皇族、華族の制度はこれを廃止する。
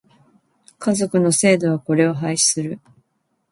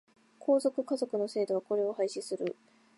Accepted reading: second